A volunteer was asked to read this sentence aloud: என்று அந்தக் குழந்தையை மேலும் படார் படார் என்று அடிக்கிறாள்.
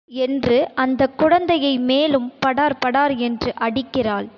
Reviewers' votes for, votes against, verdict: 0, 2, rejected